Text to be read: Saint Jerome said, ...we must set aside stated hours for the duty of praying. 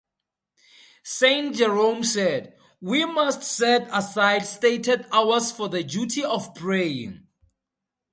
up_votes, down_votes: 4, 0